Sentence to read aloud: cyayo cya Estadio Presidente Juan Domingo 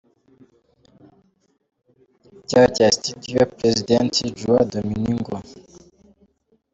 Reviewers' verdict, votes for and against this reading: rejected, 0, 2